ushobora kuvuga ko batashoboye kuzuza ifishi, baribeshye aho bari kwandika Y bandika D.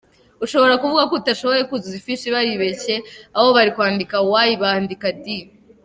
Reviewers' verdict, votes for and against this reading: rejected, 1, 2